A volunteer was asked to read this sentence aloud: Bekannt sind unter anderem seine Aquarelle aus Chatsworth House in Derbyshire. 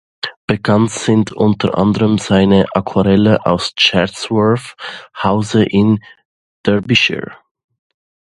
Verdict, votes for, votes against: accepted, 2, 0